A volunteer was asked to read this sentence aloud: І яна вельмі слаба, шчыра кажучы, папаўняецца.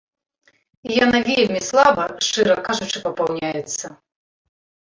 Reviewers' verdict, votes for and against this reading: accepted, 2, 0